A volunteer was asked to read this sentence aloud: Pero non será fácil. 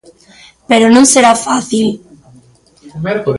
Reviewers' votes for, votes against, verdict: 0, 2, rejected